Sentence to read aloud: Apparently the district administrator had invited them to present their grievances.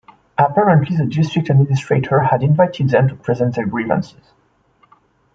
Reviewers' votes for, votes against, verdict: 2, 0, accepted